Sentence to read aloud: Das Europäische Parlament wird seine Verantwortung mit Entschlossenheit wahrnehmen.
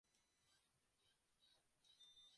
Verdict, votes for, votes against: rejected, 0, 2